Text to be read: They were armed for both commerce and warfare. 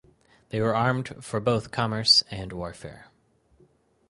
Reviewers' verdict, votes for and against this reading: rejected, 2, 2